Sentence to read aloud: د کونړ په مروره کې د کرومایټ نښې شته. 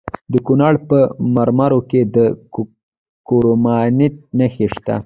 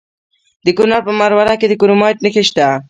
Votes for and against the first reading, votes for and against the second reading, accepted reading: 2, 0, 1, 2, first